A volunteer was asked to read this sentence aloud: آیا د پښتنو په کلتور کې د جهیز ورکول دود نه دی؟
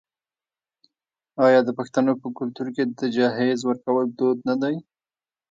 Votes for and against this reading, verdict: 0, 2, rejected